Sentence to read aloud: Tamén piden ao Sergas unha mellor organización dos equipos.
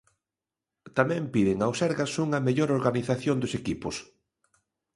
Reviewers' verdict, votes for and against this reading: accepted, 2, 0